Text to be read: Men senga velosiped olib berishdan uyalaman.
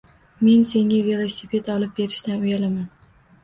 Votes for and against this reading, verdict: 2, 0, accepted